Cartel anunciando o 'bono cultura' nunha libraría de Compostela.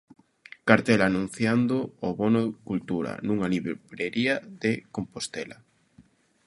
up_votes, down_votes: 0, 2